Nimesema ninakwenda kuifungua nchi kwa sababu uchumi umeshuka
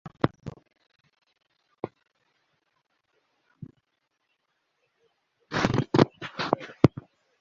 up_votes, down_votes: 0, 3